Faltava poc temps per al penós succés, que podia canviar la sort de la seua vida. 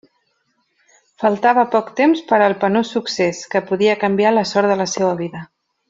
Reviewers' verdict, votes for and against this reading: accepted, 2, 0